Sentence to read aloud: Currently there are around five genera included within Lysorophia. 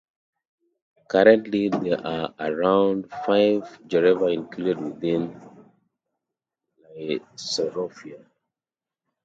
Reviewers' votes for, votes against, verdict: 0, 2, rejected